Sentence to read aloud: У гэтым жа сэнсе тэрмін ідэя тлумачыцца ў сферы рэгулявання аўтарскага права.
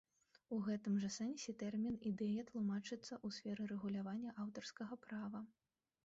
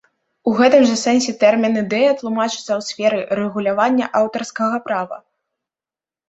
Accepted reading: second